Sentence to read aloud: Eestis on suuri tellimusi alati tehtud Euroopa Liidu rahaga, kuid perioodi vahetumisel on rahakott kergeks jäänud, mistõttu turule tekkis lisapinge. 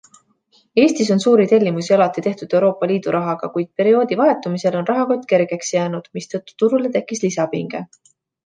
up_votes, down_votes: 2, 0